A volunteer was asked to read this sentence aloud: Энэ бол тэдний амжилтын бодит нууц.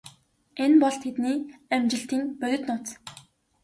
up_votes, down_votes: 0, 2